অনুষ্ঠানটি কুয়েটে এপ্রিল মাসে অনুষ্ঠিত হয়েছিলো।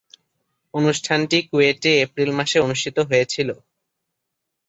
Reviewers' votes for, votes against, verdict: 3, 0, accepted